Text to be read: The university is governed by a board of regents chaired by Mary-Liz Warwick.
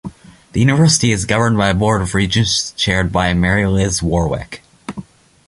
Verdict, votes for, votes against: rejected, 0, 2